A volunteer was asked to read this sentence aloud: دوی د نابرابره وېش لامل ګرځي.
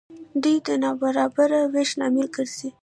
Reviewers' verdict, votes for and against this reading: rejected, 0, 2